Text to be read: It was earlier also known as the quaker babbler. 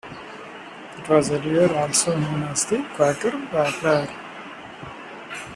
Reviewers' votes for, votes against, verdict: 0, 2, rejected